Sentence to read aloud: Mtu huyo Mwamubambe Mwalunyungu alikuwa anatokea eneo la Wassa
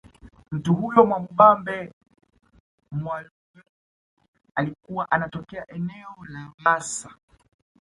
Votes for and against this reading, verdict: 1, 2, rejected